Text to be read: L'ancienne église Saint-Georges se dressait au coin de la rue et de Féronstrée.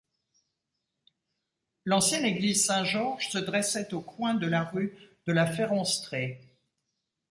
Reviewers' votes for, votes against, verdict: 0, 2, rejected